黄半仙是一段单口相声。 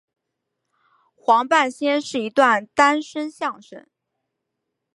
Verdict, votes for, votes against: rejected, 1, 2